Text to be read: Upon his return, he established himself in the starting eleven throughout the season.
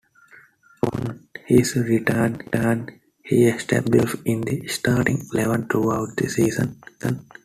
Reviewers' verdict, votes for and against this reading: rejected, 0, 2